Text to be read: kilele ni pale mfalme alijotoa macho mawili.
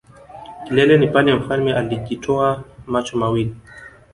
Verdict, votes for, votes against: accepted, 2, 0